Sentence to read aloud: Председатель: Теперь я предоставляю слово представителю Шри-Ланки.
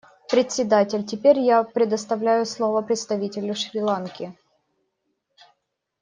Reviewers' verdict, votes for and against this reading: accepted, 2, 0